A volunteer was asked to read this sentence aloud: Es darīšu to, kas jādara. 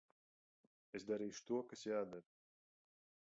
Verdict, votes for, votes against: rejected, 1, 2